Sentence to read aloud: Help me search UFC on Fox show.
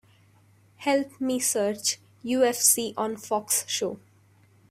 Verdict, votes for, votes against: accepted, 2, 0